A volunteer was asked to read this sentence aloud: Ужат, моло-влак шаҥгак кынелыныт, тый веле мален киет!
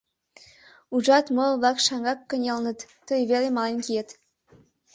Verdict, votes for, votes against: accepted, 2, 0